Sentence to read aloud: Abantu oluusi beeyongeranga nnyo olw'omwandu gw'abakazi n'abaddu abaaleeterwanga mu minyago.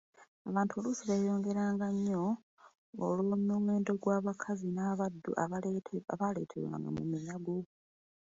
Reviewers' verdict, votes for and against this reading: rejected, 1, 2